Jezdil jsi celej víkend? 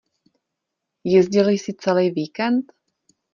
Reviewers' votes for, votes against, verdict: 2, 0, accepted